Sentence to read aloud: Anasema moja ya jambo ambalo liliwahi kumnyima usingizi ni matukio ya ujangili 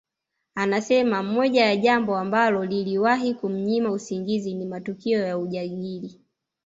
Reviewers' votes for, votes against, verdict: 2, 0, accepted